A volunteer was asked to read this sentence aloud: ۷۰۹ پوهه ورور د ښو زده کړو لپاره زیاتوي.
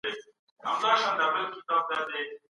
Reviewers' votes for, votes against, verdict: 0, 2, rejected